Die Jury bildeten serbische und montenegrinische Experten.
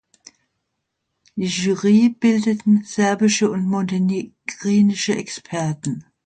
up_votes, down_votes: 2, 0